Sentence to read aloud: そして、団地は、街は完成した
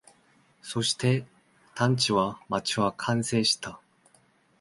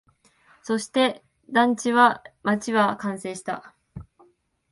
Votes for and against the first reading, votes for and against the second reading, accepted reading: 0, 2, 2, 0, second